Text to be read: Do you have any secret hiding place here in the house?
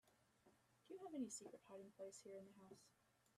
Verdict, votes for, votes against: rejected, 2, 3